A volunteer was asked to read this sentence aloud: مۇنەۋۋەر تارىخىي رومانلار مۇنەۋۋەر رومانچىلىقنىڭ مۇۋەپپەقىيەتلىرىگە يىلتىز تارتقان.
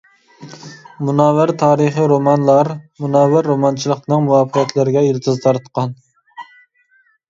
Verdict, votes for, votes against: accepted, 2, 0